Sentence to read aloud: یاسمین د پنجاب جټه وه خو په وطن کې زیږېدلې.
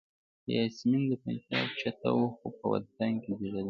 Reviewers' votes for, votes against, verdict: 2, 1, accepted